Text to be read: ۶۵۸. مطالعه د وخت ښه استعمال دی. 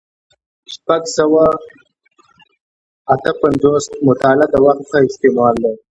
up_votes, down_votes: 0, 2